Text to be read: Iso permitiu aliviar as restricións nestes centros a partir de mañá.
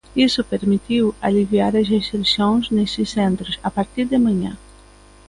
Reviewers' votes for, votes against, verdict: 0, 2, rejected